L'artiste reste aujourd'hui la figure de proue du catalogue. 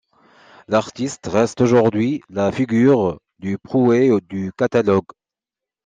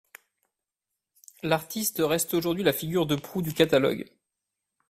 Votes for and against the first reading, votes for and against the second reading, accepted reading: 0, 2, 2, 1, second